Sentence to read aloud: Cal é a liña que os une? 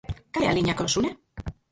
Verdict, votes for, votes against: rejected, 0, 4